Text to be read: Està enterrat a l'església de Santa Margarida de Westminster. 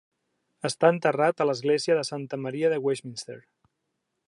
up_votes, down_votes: 0, 2